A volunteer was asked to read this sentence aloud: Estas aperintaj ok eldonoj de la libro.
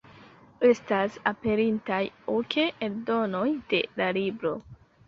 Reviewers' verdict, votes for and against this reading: rejected, 0, 2